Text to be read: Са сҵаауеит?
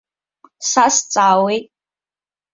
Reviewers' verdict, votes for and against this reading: accepted, 2, 0